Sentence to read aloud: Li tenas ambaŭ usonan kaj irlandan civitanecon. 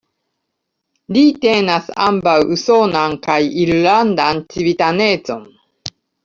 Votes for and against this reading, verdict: 2, 0, accepted